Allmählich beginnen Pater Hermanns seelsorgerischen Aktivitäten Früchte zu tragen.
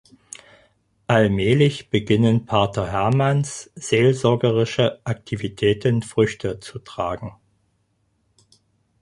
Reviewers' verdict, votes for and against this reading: rejected, 2, 4